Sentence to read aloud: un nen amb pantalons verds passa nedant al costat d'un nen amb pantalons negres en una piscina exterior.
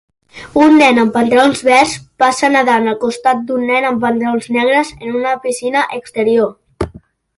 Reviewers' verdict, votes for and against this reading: accepted, 2, 0